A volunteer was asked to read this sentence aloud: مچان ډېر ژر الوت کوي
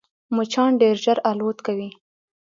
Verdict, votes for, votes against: accepted, 2, 0